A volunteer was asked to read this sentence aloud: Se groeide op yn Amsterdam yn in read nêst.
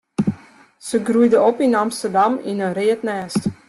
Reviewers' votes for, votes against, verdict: 1, 2, rejected